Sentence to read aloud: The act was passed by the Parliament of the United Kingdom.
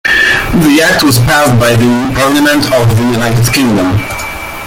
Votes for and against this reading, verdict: 0, 2, rejected